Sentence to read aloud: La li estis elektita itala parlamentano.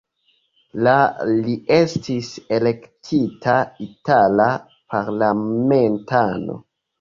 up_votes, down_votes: 2, 0